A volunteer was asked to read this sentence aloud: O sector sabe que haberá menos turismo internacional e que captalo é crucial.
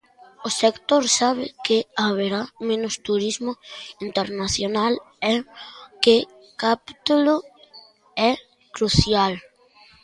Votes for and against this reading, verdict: 0, 2, rejected